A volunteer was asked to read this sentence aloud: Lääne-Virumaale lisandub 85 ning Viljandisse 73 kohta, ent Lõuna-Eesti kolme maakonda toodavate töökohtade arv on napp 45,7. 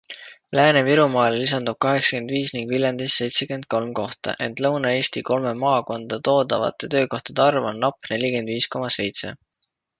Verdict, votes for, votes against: rejected, 0, 2